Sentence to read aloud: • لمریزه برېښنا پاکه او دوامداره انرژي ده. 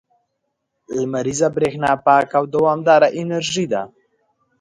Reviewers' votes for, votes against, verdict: 2, 1, accepted